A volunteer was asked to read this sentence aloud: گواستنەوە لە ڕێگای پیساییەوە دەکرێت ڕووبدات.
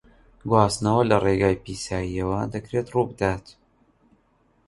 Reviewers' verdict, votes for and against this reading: accepted, 2, 0